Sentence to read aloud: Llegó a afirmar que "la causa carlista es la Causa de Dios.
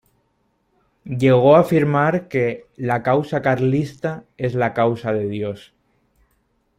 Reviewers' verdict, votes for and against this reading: accepted, 2, 0